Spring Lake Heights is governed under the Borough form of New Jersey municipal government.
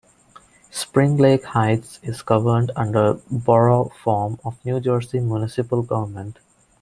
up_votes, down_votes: 1, 2